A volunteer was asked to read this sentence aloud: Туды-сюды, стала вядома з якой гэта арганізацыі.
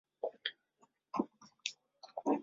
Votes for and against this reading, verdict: 0, 2, rejected